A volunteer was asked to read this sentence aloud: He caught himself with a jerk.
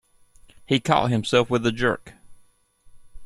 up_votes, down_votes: 2, 0